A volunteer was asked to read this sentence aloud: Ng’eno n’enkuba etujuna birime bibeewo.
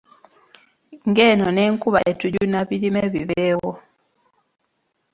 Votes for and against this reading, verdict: 0, 2, rejected